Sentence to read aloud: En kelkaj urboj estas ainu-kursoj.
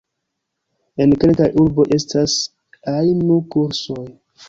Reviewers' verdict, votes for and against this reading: accepted, 2, 0